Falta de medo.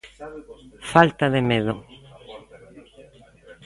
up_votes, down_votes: 1, 2